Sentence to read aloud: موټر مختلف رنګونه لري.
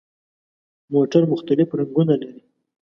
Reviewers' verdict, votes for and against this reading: accepted, 2, 1